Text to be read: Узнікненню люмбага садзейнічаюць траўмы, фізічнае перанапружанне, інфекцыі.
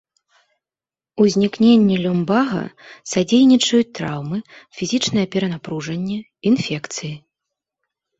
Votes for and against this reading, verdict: 2, 0, accepted